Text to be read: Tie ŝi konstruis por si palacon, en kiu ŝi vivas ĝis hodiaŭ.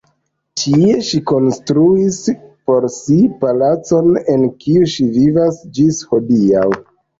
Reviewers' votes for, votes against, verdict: 1, 2, rejected